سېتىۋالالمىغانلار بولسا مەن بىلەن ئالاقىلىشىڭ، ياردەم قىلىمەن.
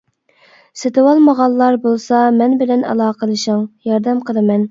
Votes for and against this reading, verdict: 2, 0, accepted